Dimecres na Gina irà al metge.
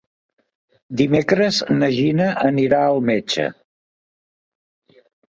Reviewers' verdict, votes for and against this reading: rejected, 0, 2